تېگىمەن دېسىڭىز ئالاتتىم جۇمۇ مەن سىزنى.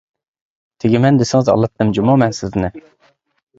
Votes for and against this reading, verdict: 2, 0, accepted